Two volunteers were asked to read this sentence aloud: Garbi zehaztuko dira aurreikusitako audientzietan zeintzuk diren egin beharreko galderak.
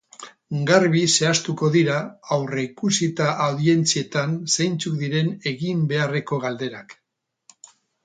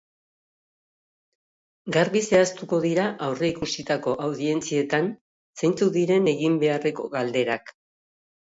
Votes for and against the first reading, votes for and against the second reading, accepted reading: 2, 6, 2, 0, second